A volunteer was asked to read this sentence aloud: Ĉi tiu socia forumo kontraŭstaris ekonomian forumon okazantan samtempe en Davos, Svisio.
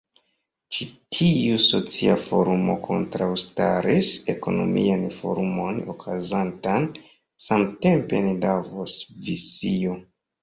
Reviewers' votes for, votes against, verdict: 2, 0, accepted